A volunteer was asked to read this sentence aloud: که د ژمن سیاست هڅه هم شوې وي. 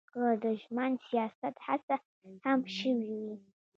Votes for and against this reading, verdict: 2, 1, accepted